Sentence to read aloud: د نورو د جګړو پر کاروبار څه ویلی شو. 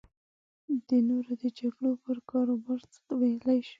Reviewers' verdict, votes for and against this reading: rejected, 0, 2